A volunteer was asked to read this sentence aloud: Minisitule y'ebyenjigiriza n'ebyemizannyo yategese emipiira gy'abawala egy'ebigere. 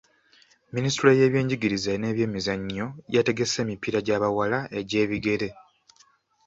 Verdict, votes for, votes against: accepted, 2, 0